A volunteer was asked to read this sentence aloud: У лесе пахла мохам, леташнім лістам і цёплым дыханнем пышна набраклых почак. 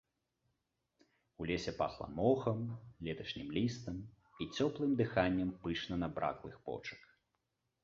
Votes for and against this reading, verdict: 2, 0, accepted